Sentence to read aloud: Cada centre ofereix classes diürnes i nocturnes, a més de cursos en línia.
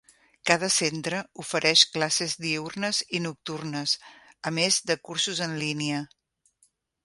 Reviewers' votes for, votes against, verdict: 5, 0, accepted